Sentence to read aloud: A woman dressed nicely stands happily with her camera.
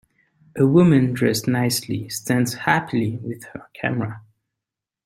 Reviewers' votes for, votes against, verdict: 3, 0, accepted